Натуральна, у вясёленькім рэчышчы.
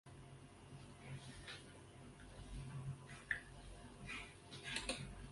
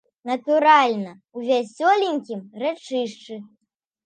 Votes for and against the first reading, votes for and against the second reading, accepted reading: 1, 2, 2, 0, second